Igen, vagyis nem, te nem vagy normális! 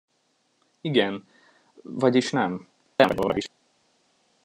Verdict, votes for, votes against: rejected, 0, 2